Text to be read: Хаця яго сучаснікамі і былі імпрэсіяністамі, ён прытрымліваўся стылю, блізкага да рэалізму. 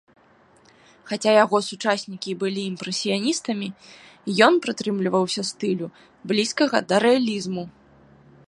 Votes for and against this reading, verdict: 1, 2, rejected